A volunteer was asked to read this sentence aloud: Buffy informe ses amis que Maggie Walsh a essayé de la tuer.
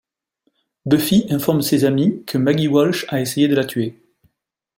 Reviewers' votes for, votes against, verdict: 2, 1, accepted